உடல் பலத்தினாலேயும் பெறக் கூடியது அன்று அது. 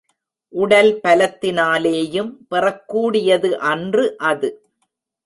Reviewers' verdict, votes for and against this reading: accepted, 2, 0